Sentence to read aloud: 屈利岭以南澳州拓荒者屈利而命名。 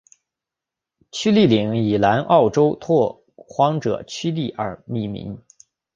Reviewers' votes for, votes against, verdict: 4, 1, accepted